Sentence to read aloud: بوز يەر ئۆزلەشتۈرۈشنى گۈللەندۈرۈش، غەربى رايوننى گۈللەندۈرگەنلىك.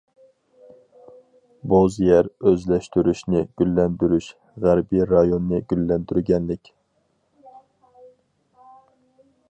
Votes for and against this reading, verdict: 4, 0, accepted